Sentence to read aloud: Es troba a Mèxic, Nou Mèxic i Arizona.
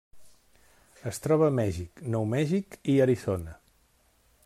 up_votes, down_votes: 0, 2